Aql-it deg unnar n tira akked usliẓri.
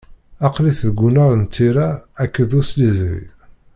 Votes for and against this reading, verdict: 1, 2, rejected